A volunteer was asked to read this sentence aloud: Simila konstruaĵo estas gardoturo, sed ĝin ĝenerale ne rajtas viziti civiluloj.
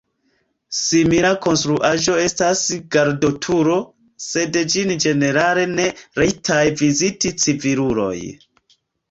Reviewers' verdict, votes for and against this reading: rejected, 0, 2